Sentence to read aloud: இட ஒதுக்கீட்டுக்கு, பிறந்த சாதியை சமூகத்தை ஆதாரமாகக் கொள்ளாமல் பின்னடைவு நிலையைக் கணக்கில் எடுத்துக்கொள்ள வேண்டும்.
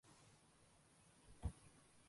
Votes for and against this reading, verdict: 1, 2, rejected